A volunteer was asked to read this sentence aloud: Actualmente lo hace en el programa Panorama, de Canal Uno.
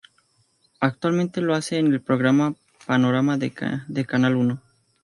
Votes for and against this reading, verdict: 2, 0, accepted